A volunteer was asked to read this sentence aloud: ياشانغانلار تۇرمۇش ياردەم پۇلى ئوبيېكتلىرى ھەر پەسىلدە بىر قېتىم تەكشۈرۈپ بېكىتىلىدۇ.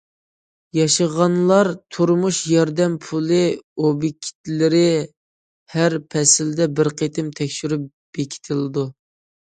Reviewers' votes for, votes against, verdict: 0, 2, rejected